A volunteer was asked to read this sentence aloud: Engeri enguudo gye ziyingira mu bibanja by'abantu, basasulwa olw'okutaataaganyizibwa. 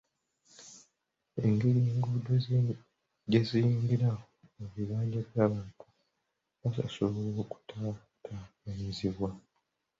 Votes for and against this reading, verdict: 0, 2, rejected